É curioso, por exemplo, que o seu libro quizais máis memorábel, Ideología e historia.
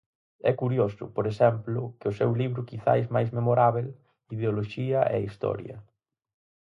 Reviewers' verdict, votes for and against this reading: rejected, 2, 4